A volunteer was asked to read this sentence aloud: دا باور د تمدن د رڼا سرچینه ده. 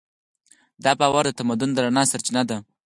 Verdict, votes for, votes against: rejected, 2, 4